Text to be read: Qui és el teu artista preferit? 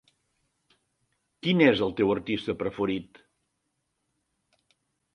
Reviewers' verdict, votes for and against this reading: rejected, 0, 2